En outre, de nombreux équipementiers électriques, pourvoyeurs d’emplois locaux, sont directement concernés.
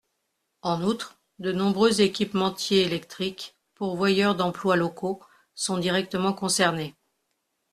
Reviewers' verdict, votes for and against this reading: accepted, 2, 0